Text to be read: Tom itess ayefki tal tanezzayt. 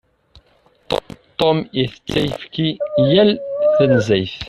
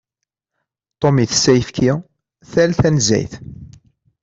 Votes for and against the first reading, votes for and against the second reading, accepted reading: 1, 2, 2, 0, second